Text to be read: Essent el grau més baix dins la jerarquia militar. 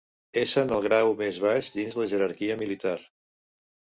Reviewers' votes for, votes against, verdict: 0, 2, rejected